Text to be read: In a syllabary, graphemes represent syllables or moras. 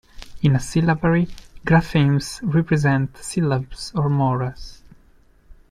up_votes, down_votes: 0, 2